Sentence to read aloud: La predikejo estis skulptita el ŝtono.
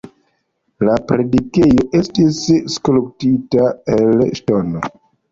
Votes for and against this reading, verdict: 1, 2, rejected